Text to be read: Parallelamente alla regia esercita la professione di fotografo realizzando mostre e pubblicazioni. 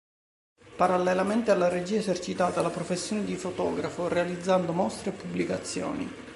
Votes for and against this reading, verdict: 2, 3, rejected